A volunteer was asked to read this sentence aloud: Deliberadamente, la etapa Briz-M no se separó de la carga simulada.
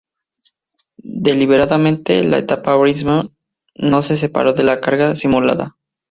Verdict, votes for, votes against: rejected, 2, 2